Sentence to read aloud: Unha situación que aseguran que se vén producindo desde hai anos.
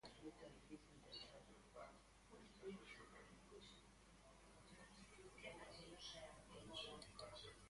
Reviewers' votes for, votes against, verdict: 0, 2, rejected